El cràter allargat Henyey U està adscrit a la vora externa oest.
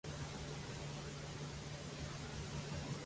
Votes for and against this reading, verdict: 0, 2, rejected